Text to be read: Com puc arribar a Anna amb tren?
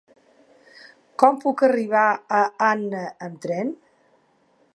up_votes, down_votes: 3, 0